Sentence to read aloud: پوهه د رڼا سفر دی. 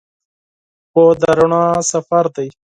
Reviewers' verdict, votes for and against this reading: rejected, 2, 4